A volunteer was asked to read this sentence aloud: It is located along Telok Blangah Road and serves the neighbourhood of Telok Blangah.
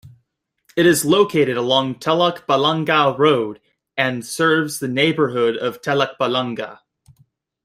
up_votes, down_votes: 1, 2